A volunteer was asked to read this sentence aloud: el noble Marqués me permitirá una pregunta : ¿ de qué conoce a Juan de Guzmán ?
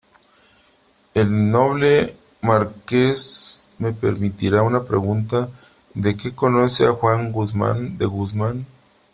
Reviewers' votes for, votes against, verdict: 0, 3, rejected